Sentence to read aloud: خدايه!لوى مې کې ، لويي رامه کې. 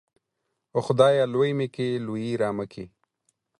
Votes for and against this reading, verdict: 4, 0, accepted